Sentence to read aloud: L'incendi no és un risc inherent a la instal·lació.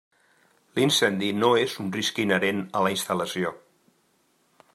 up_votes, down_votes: 3, 0